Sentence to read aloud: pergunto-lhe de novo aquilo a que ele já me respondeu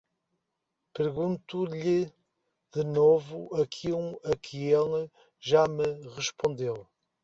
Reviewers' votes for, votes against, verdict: 2, 0, accepted